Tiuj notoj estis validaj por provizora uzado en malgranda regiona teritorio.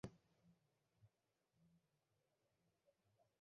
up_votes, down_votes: 1, 2